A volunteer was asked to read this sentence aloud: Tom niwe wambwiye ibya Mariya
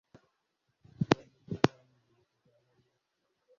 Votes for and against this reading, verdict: 0, 2, rejected